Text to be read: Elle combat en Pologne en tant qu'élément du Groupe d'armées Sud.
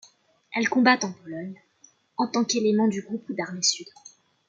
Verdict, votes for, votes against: accepted, 2, 1